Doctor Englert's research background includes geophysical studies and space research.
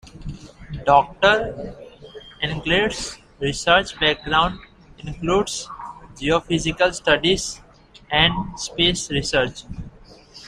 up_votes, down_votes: 2, 1